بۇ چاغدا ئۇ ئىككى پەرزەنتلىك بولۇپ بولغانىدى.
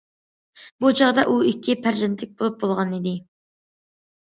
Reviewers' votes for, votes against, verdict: 2, 1, accepted